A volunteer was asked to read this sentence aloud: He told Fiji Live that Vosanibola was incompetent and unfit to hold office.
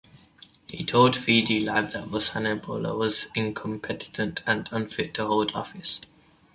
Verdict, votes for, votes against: rejected, 1, 3